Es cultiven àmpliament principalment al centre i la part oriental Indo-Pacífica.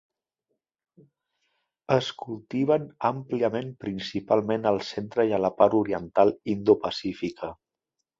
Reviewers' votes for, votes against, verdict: 2, 0, accepted